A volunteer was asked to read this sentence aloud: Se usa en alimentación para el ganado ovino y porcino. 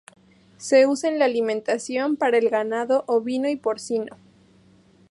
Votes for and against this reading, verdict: 2, 0, accepted